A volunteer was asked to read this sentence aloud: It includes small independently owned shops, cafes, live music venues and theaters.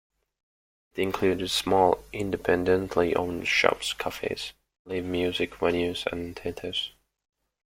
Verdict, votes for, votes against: rejected, 1, 2